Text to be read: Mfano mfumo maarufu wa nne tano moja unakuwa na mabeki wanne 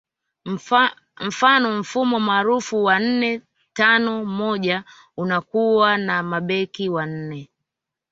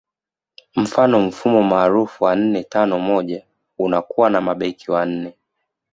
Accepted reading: second